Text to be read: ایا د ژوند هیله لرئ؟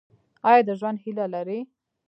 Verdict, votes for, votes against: rejected, 1, 2